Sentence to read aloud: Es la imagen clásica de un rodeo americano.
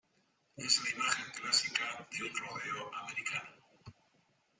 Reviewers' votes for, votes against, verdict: 2, 0, accepted